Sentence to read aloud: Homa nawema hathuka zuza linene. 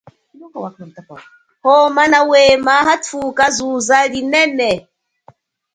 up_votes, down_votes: 1, 2